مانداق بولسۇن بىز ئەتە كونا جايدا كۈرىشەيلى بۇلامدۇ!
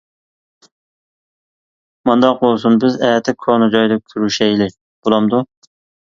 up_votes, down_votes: 2, 1